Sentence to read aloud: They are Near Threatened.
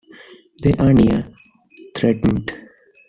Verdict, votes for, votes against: rejected, 1, 2